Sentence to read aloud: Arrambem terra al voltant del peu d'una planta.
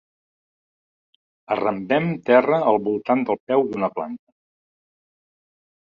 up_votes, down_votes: 1, 2